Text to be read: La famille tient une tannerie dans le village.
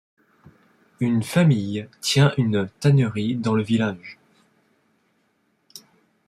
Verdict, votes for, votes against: rejected, 0, 2